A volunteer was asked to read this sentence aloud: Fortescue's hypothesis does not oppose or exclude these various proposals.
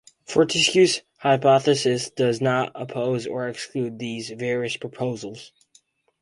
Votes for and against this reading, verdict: 2, 2, rejected